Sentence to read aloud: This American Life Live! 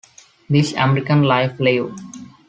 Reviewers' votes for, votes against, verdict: 2, 0, accepted